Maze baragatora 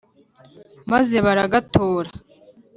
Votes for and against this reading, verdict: 3, 0, accepted